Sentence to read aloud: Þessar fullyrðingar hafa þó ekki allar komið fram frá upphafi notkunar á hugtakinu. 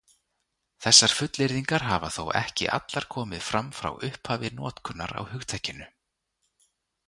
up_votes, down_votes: 2, 0